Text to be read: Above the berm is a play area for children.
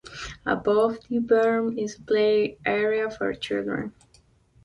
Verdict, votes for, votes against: accepted, 2, 1